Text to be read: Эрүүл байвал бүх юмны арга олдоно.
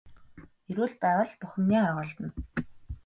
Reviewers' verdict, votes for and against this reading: accepted, 2, 0